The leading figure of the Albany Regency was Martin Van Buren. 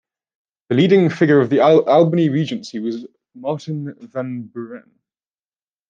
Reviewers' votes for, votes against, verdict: 0, 2, rejected